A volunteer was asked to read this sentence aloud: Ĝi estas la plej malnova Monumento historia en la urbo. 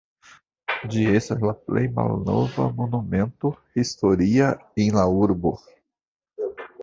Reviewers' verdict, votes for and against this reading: rejected, 0, 2